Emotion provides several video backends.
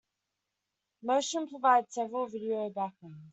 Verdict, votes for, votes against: rejected, 1, 2